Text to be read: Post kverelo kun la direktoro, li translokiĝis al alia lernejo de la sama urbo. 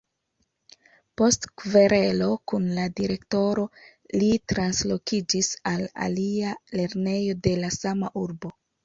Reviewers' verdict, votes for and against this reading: accepted, 2, 0